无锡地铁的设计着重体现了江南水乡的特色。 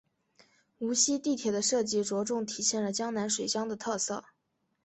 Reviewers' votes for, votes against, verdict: 3, 0, accepted